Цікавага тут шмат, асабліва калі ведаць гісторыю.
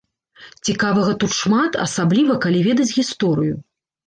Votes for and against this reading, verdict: 2, 0, accepted